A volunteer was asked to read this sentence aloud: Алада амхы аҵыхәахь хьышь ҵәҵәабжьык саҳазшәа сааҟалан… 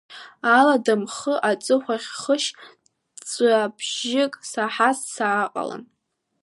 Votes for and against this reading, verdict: 0, 2, rejected